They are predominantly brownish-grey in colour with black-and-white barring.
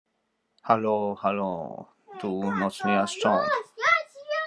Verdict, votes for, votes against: rejected, 0, 2